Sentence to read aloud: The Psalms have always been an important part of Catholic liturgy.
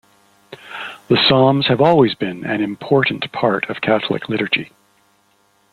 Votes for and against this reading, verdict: 2, 0, accepted